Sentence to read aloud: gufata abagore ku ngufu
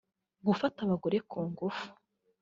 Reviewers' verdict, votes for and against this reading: accepted, 2, 0